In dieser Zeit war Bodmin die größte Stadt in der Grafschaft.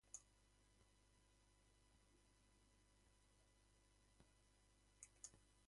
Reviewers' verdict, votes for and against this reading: rejected, 0, 2